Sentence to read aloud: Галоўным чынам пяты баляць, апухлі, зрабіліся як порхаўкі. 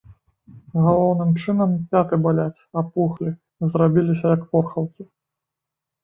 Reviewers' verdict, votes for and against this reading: rejected, 1, 2